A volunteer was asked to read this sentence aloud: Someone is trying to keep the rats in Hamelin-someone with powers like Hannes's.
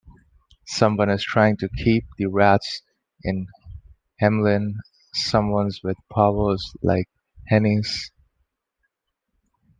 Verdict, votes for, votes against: rejected, 1, 2